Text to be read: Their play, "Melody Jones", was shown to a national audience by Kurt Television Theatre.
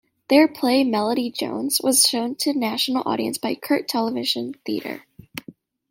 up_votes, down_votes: 1, 2